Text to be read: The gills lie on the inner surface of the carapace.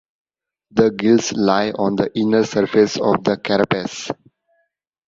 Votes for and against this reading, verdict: 2, 0, accepted